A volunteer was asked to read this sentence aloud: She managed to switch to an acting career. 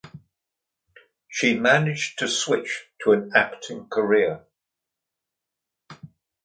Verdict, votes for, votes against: accepted, 2, 0